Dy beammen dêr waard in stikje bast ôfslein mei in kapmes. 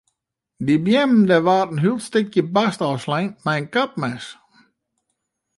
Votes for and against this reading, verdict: 0, 2, rejected